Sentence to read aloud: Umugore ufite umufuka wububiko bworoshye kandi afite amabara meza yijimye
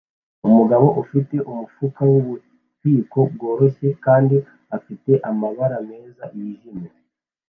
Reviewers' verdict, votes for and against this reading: accepted, 2, 0